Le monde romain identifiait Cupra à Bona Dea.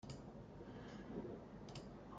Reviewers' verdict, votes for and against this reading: rejected, 0, 2